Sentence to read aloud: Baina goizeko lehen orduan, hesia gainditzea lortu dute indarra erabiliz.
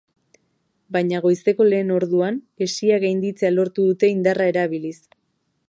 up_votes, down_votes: 2, 0